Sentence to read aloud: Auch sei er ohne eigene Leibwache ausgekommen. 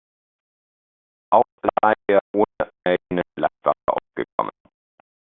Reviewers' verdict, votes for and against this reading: rejected, 0, 2